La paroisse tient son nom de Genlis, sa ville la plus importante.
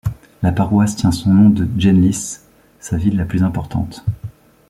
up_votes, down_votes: 1, 2